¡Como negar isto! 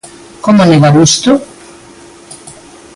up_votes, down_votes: 2, 0